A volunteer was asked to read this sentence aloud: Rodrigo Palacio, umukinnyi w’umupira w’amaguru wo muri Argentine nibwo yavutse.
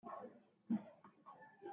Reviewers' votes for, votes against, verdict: 0, 2, rejected